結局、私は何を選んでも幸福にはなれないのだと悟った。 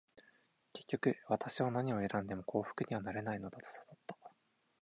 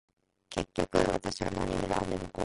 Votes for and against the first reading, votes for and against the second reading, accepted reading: 4, 2, 1, 2, first